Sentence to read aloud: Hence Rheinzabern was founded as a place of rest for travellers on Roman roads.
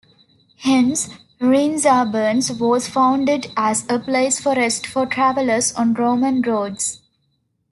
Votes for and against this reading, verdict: 1, 2, rejected